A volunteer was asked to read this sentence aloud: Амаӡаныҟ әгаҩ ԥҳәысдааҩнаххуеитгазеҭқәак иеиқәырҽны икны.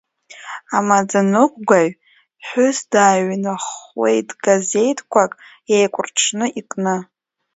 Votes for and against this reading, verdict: 0, 2, rejected